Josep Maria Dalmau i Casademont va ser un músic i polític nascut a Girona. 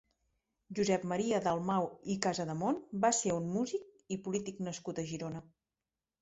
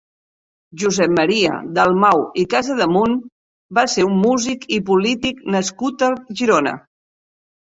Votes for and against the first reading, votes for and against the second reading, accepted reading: 2, 0, 1, 2, first